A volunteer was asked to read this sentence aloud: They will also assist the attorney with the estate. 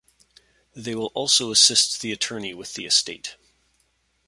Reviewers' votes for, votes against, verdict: 2, 0, accepted